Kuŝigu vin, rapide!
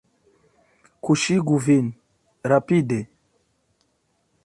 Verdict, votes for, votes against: accepted, 2, 1